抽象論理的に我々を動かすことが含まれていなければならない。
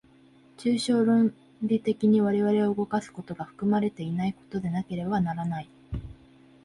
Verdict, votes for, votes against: rejected, 1, 2